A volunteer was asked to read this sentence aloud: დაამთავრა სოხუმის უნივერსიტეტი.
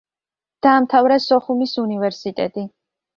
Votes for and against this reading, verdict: 2, 0, accepted